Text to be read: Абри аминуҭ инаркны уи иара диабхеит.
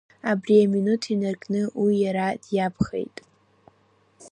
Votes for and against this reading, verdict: 0, 2, rejected